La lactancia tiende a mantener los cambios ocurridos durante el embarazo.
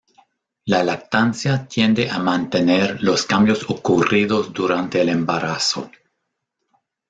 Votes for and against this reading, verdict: 1, 2, rejected